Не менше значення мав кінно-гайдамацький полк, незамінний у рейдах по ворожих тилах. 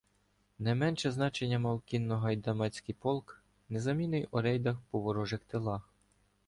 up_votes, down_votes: 2, 0